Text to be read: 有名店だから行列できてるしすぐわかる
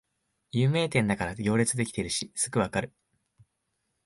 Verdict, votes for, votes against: accepted, 4, 0